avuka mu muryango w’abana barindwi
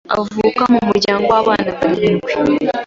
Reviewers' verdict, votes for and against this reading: accepted, 2, 0